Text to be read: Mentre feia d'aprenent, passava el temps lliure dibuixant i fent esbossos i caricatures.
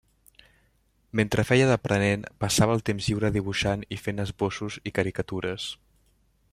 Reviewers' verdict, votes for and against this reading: accepted, 2, 0